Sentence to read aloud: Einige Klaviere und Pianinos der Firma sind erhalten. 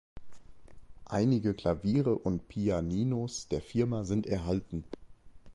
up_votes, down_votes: 2, 0